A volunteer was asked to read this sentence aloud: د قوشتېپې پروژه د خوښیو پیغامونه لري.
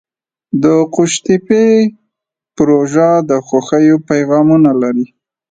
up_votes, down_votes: 2, 0